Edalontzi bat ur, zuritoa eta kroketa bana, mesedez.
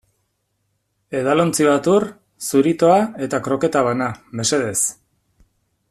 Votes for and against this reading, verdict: 4, 0, accepted